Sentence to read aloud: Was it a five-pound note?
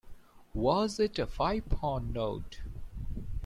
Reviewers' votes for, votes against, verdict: 2, 0, accepted